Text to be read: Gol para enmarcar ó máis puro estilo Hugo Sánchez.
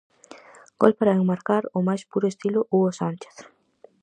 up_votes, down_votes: 4, 0